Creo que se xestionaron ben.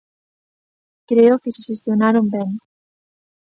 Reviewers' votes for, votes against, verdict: 2, 0, accepted